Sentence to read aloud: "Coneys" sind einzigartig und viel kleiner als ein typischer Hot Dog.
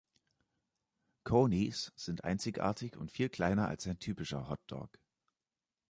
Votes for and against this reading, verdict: 2, 0, accepted